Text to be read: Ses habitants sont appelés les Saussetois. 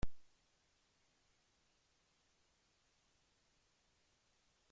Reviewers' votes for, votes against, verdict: 0, 2, rejected